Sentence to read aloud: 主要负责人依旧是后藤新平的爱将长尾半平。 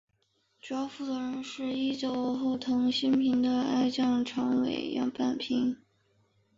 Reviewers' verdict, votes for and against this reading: rejected, 1, 5